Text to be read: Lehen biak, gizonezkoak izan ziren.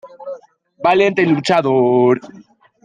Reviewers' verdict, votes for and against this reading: rejected, 0, 2